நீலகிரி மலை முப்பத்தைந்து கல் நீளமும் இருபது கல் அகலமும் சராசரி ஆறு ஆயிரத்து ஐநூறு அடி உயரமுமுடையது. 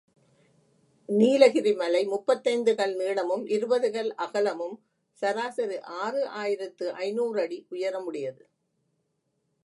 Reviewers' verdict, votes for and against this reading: rejected, 0, 2